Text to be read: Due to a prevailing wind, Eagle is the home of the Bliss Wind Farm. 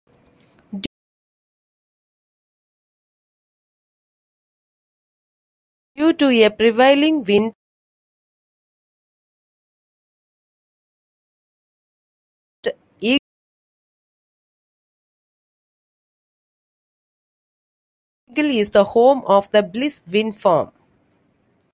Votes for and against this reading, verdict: 0, 2, rejected